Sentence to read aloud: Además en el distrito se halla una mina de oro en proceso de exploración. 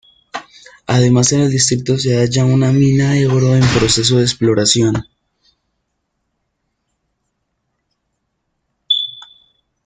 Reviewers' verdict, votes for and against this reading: rejected, 1, 2